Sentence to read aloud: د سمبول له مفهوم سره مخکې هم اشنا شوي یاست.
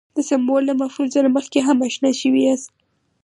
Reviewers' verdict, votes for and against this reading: accepted, 4, 0